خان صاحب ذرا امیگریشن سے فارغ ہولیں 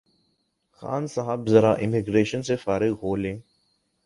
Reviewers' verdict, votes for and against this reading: accepted, 11, 0